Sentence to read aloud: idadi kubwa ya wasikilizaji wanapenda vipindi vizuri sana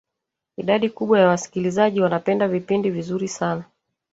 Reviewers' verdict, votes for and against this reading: rejected, 1, 2